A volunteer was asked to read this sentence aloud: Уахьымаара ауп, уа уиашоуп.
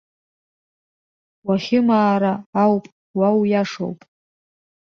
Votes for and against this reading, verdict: 2, 0, accepted